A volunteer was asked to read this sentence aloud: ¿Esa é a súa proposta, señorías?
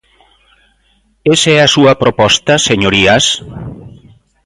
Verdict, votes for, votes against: accepted, 2, 0